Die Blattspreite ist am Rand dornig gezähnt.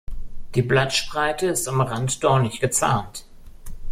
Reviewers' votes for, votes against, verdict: 0, 2, rejected